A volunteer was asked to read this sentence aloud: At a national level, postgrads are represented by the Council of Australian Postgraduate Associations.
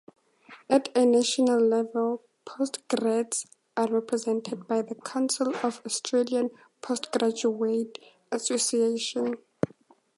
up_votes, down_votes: 2, 0